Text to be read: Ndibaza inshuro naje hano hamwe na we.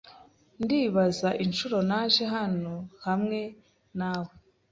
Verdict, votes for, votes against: accepted, 2, 0